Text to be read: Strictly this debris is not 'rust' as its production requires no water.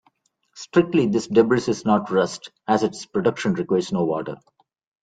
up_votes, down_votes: 0, 2